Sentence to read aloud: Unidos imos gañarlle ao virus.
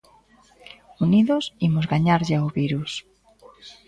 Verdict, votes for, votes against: rejected, 0, 2